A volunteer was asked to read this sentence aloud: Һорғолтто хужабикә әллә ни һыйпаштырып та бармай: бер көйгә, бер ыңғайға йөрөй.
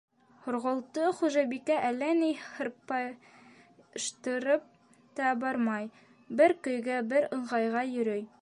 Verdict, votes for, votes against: rejected, 1, 3